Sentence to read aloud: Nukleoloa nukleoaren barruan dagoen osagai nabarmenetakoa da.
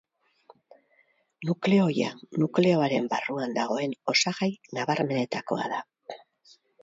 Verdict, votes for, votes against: rejected, 0, 4